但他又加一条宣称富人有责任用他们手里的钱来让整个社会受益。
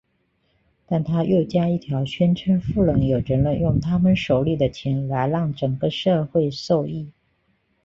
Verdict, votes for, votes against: accepted, 2, 0